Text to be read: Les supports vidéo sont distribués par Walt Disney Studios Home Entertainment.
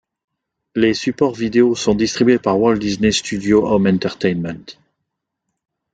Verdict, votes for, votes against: accepted, 2, 0